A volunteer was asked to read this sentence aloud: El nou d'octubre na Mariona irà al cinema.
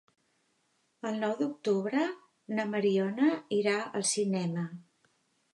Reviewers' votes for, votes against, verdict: 2, 0, accepted